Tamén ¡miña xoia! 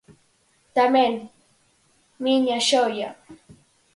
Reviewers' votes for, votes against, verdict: 4, 0, accepted